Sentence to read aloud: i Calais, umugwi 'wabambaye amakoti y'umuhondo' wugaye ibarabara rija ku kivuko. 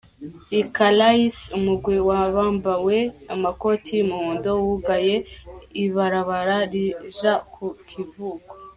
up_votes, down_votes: 0, 2